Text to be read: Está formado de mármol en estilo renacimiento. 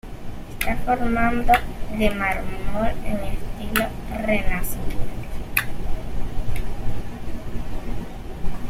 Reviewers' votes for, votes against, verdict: 0, 2, rejected